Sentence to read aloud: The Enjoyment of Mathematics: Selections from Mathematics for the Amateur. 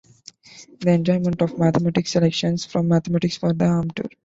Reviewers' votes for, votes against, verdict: 0, 2, rejected